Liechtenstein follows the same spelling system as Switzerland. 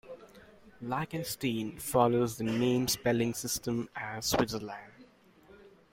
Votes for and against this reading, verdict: 0, 2, rejected